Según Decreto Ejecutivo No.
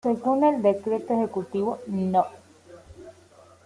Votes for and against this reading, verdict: 1, 2, rejected